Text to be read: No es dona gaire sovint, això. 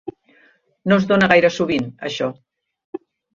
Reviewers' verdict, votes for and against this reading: accepted, 3, 0